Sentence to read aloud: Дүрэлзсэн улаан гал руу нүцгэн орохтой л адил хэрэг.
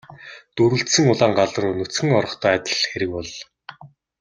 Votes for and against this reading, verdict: 0, 2, rejected